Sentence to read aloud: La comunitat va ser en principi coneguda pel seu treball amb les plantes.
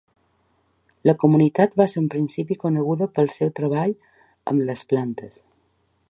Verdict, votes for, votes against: accepted, 2, 0